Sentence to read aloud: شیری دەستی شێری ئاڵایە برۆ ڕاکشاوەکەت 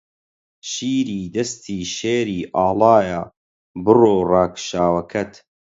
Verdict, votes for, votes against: accepted, 4, 0